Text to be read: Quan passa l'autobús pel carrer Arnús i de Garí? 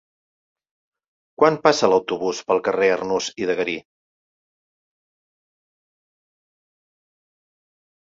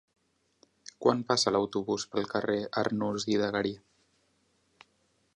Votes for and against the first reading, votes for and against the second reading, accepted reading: 4, 0, 0, 2, first